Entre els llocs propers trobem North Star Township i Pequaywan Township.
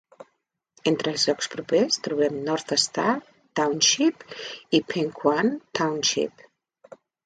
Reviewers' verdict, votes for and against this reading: rejected, 0, 2